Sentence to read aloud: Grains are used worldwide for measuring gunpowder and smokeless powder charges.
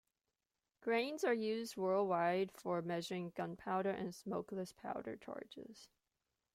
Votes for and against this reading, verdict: 2, 0, accepted